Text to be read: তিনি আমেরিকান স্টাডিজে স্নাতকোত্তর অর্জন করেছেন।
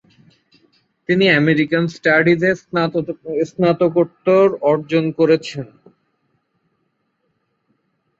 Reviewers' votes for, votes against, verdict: 1, 2, rejected